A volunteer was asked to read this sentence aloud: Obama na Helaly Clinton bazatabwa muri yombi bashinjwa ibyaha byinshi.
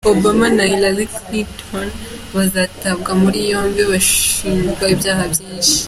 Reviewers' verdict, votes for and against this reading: accepted, 2, 0